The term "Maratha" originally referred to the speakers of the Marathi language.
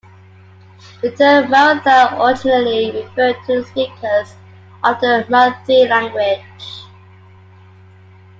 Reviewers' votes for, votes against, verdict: 2, 0, accepted